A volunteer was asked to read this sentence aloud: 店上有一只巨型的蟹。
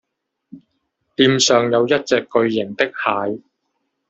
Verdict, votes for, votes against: rejected, 1, 2